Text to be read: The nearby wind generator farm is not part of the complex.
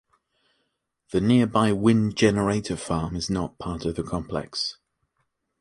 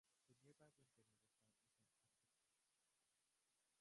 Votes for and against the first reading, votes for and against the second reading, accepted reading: 2, 0, 0, 2, first